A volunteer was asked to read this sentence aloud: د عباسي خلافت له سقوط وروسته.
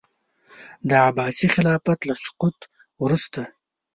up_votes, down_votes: 2, 0